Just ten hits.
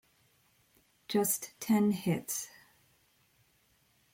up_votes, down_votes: 1, 2